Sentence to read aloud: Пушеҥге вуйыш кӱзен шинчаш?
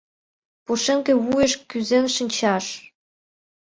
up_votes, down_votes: 2, 0